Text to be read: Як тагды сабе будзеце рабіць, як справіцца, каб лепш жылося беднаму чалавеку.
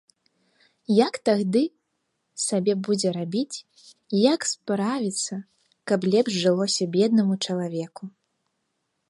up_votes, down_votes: 1, 2